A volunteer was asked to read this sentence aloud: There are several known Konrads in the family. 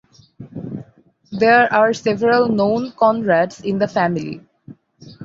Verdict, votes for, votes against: rejected, 2, 2